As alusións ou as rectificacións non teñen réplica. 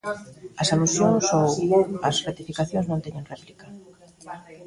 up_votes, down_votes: 0, 2